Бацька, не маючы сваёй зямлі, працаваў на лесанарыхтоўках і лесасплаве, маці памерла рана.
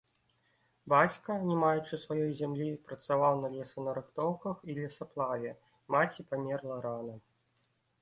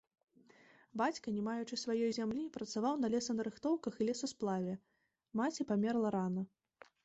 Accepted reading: second